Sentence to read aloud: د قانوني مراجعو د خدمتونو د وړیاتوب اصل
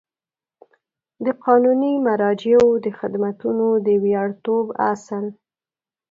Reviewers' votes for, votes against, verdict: 0, 2, rejected